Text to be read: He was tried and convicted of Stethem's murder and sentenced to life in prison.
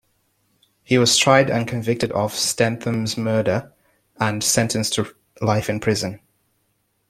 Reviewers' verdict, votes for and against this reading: accepted, 2, 1